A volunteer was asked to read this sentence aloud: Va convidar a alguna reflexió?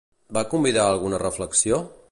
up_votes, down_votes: 2, 0